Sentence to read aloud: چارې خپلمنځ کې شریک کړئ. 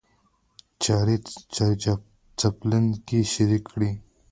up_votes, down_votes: 0, 2